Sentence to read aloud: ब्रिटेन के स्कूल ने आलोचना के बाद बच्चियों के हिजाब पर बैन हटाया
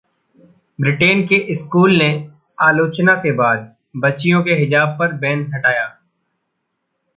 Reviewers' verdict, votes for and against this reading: rejected, 0, 2